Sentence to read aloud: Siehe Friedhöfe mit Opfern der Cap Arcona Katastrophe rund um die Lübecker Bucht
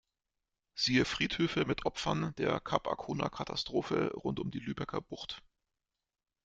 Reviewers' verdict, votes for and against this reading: rejected, 0, 2